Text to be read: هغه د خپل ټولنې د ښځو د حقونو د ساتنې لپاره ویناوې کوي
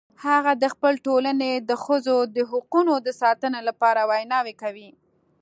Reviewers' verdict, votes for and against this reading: accepted, 2, 0